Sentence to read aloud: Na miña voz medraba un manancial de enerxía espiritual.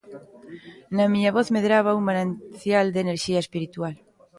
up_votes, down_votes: 0, 2